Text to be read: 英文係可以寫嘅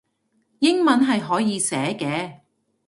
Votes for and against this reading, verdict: 2, 0, accepted